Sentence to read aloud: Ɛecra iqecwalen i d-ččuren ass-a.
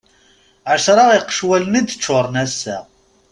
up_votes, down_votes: 2, 0